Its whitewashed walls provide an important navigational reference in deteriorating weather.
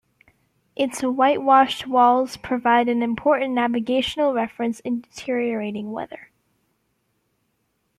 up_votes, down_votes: 2, 0